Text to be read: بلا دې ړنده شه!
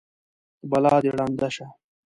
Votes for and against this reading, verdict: 2, 0, accepted